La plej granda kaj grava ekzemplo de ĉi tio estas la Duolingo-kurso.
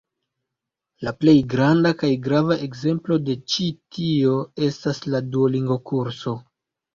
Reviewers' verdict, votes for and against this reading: accepted, 2, 1